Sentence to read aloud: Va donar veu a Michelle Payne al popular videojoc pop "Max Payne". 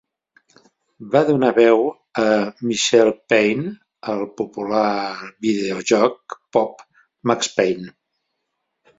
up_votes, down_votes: 2, 1